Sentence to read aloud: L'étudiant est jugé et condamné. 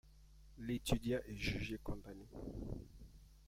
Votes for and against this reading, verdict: 0, 2, rejected